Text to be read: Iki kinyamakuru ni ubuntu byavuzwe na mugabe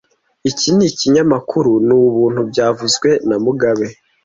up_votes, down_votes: 2, 0